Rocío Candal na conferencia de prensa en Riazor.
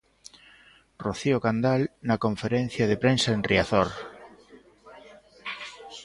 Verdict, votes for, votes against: accepted, 2, 0